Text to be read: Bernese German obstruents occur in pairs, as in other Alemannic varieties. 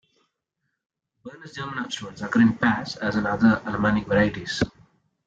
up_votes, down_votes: 1, 2